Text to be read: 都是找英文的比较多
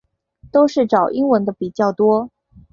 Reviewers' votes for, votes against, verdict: 4, 1, accepted